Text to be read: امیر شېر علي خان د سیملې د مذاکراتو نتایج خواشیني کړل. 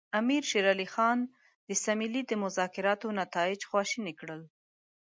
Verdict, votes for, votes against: accepted, 3, 1